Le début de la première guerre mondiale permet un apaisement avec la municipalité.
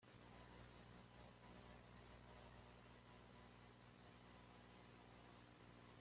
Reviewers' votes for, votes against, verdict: 0, 2, rejected